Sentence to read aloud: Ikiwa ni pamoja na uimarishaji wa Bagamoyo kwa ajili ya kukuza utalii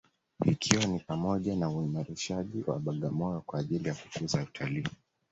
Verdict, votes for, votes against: accepted, 2, 0